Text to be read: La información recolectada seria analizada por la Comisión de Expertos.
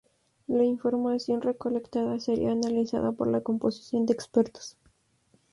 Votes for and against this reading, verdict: 0, 2, rejected